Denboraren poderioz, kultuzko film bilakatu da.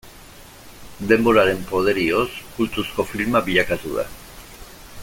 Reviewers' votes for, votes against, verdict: 0, 2, rejected